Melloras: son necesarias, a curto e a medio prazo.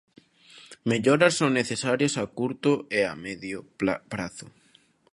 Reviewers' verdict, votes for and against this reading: rejected, 0, 2